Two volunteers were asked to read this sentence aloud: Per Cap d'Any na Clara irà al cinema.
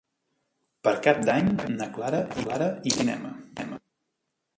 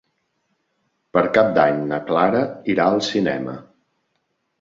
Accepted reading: second